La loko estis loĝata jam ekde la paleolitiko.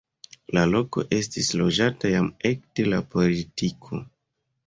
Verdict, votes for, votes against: accepted, 2, 0